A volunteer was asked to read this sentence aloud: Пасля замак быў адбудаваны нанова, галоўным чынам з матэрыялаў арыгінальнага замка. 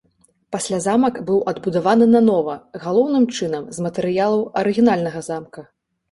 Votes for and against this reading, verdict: 2, 0, accepted